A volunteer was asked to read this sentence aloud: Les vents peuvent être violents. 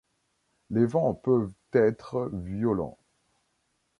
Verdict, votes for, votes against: accepted, 2, 1